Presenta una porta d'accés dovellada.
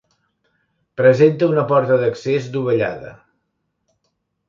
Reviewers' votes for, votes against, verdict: 2, 0, accepted